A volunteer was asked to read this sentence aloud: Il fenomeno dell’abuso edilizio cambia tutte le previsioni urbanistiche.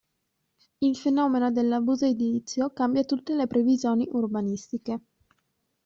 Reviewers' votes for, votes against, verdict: 1, 2, rejected